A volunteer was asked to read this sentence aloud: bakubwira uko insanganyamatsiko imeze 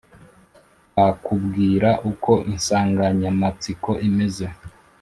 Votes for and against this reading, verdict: 2, 0, accepted